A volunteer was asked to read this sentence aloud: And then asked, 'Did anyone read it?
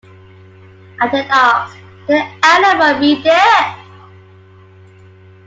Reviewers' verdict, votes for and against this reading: accepted, 2, 0